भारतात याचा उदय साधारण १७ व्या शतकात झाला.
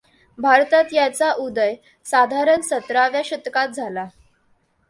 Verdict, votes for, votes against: rejected, 0, 2